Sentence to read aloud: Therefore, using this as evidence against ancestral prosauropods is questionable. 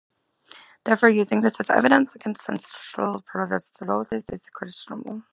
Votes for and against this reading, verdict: 0, 2, rejected